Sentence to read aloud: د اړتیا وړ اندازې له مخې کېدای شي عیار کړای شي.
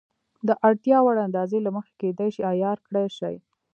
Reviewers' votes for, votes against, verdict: 0, 2, rejected